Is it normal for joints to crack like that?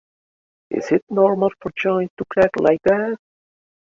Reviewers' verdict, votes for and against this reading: accepted, 2, 1